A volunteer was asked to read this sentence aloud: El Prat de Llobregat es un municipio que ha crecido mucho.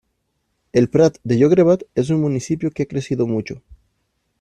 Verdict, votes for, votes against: rejected, 1, 2